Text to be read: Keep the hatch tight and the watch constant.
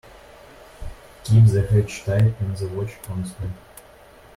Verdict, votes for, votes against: accepted, 2, 1